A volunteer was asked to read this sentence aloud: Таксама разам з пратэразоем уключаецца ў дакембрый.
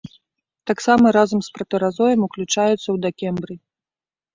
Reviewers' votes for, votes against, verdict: 2, 0, accepted